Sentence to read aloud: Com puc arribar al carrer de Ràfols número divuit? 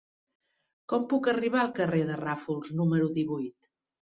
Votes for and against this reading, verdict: 3, 0, accepted